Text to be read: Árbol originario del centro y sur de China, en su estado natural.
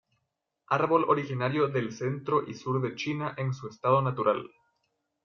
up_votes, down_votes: 2, 0